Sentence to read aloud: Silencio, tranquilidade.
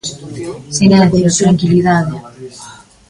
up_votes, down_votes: 0, 2